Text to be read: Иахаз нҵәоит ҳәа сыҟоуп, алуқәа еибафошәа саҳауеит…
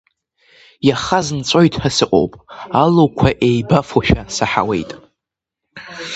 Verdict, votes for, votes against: accepted, 2, 1